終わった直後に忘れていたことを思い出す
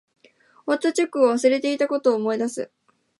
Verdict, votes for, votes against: rejected, 1, 2